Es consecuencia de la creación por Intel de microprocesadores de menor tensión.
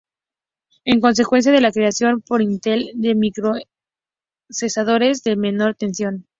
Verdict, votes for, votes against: rejected, 0, 2